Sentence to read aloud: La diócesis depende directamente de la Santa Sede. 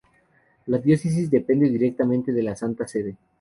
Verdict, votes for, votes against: accepted, 2, 0